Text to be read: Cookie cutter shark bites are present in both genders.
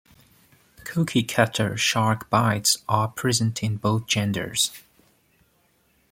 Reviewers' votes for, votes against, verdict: 2, 0, accepted